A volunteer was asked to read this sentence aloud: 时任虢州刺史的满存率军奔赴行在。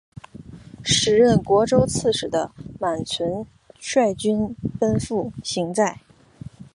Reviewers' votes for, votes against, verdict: 5, 0, accepted